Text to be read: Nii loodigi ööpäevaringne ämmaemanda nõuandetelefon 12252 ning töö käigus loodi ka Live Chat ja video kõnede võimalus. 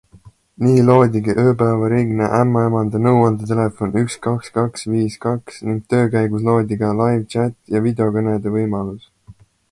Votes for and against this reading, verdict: 0, 2, rejected